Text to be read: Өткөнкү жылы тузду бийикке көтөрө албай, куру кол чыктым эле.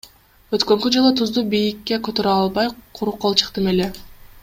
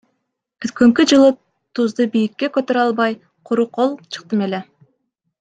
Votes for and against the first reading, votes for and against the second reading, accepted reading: 1, 2, 2, 0, second